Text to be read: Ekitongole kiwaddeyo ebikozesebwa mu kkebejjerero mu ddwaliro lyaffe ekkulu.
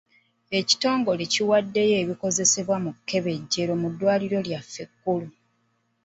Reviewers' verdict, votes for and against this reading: accepted, 2, 0